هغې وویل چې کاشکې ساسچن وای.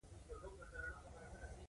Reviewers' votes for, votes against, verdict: 1, 2, rejected